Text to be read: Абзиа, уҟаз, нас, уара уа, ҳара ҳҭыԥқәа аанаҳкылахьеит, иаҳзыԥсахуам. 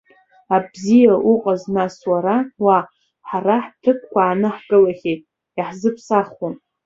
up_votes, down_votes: 2, 0